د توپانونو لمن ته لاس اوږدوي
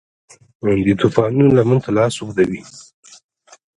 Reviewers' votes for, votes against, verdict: 2, 1, accepted